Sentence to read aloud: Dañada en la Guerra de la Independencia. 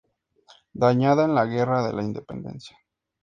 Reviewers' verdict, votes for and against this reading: accepted, 2, 0